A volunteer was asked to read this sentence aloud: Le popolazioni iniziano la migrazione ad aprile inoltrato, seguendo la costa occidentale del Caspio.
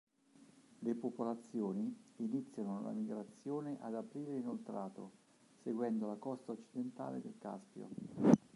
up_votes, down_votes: 1, 2